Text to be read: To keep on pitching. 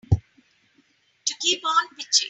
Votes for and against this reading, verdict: 4, 0, accepted